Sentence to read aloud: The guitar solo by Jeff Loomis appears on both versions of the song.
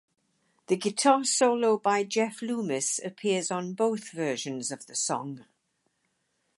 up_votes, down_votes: 4, 0